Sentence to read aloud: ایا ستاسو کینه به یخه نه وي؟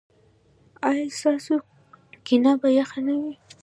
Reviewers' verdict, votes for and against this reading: accepted, 2, 0